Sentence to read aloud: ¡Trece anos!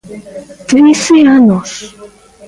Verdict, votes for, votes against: rejected, 0, 2